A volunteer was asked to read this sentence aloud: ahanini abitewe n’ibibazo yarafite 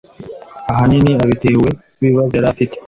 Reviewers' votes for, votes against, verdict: 2, 0, accepted